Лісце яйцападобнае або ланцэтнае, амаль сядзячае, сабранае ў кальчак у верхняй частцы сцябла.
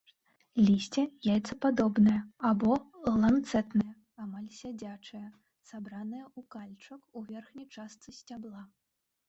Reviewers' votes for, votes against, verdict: 0, 2, rejected